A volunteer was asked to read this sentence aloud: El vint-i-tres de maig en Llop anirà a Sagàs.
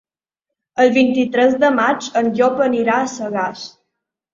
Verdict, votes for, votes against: accepted, 3, 0